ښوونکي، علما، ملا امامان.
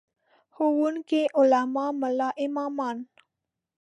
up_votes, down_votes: 2, 0